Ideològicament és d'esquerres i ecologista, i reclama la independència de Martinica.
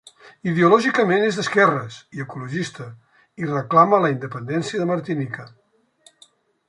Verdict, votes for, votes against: accepted, 2, 0